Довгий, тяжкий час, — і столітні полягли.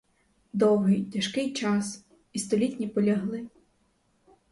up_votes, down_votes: 0, 2